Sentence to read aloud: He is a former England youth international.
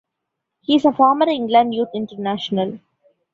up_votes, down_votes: 1, 2